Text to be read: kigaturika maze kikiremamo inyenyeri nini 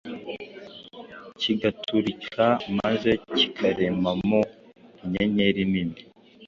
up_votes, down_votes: 3, 2